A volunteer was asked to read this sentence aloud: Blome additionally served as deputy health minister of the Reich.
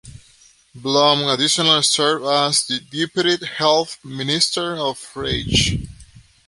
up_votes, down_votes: 0, 2